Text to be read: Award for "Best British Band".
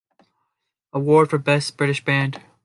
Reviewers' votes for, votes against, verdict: 2, 0, accepted